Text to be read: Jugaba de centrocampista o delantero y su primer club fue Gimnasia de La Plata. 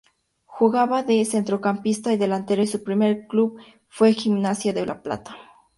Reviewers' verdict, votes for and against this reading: rejected, 0, 2